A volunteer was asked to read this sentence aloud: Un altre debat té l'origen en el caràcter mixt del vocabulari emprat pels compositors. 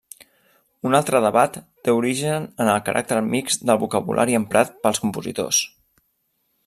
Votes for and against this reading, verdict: 0, 2, rejected